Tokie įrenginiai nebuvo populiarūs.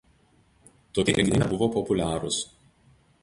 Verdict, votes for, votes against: rejected, 0, 4